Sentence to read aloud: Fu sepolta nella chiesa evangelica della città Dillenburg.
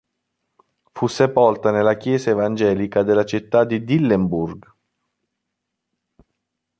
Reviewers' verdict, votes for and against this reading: rejected, 1, 2